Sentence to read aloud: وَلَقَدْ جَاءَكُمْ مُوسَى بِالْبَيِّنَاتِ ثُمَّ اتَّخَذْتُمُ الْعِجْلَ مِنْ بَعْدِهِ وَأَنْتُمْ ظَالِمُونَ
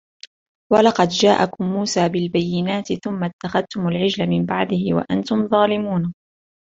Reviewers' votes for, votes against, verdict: 1, 2, rejected